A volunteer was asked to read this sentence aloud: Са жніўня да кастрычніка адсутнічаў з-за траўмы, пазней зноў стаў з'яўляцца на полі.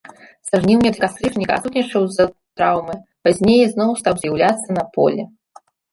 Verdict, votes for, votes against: accepted, 2, 0